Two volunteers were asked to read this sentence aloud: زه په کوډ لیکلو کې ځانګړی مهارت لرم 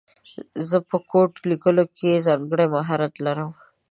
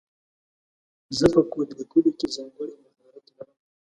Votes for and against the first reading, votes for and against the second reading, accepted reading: 3, 0, 1, 2, first